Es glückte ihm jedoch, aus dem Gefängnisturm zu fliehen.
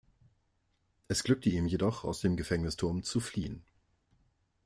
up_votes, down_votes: 2, 0